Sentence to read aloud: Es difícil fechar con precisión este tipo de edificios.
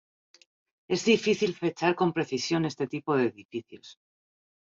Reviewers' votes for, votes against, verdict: 0, 2, rejected